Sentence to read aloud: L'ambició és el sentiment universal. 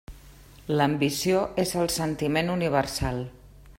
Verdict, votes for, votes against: accepted, 3, 0